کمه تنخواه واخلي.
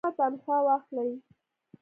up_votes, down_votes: 2, 0